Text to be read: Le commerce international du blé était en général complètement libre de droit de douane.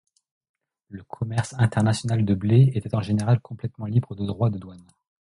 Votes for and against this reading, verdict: 1, 2, rejected